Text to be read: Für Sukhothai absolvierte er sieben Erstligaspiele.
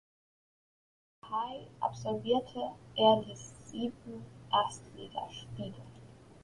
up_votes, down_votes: 0, 2